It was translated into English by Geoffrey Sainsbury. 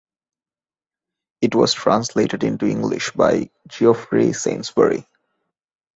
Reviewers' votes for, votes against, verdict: 2, 0, accepted